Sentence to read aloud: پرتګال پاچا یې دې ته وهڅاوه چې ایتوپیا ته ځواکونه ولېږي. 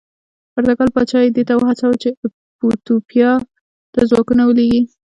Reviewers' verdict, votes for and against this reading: rejected, 1, 2